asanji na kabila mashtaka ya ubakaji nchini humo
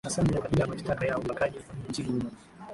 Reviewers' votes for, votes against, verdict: 0, 2, rejected